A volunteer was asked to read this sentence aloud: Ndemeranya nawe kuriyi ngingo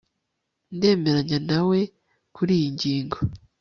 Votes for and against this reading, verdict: 2, 0, accepted